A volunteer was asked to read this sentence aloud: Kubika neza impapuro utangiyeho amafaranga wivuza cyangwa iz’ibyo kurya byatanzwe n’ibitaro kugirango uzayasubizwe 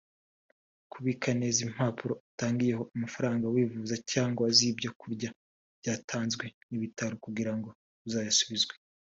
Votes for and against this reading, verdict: 2, 0, accepted